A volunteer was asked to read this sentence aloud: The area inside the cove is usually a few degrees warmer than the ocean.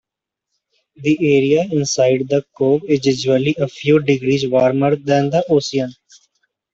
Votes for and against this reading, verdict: 1, 2, rejected